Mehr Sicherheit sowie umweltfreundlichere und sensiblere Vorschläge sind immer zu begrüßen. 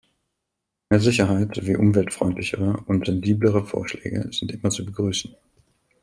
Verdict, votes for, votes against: accepted, 2, 0